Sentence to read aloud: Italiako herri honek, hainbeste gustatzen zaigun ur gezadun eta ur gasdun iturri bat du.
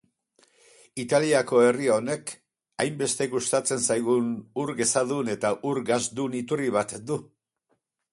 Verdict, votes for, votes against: accepted, 4, 0